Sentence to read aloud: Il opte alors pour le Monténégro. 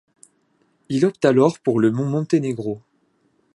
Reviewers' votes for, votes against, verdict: 2, 1, accepted